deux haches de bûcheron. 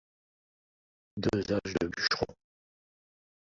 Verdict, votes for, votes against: rejected, 0, 2